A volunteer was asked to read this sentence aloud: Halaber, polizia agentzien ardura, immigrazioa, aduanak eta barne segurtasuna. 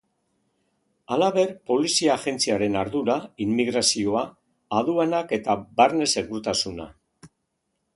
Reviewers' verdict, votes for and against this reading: rejected, 0, 2